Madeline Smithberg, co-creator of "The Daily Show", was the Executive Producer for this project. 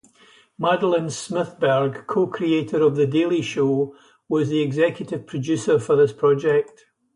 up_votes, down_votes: 0, 2